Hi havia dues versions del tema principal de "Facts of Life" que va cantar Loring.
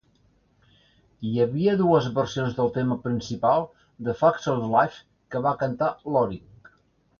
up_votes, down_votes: 2, 0